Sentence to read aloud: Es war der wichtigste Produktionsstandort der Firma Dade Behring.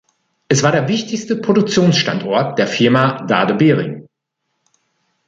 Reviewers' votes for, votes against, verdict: 2, 0, accepted